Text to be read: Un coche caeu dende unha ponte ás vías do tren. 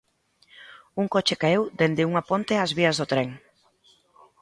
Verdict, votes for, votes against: accepted, 2, 0